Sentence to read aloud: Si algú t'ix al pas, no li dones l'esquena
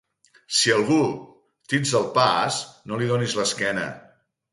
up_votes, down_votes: 4, 0